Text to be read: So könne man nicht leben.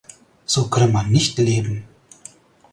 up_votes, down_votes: 4, 0